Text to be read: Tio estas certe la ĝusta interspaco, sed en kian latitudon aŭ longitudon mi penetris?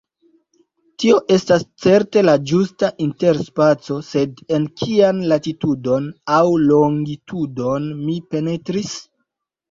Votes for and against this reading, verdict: 2, 0, accepted